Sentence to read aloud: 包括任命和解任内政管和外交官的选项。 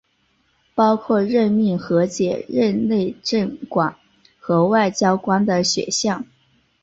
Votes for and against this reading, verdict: 0, 2, rejected